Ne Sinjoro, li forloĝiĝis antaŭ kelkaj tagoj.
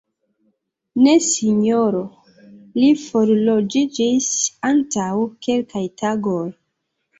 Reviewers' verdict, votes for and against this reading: rejected, 1, 2